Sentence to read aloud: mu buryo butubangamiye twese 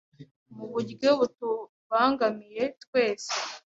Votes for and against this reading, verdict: 0, 2, rejected